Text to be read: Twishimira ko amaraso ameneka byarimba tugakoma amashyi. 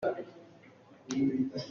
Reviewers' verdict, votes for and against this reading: rejected, 0, 2